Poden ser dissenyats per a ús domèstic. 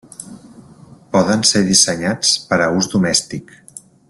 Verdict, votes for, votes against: accepted, 3, 0